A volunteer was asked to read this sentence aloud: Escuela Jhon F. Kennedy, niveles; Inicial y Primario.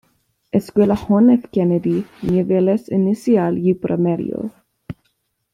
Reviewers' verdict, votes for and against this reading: rejected, 1, 2